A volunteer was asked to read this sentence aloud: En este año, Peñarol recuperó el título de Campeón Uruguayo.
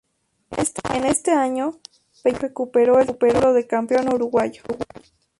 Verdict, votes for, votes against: rejected, 0, 4